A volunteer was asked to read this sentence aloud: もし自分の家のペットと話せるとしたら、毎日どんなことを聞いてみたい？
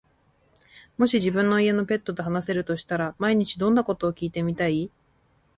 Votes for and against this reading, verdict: 2, 0, accepted